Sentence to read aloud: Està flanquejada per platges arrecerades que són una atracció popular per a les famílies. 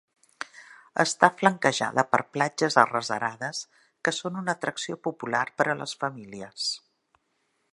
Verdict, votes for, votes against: rejected, 0, 2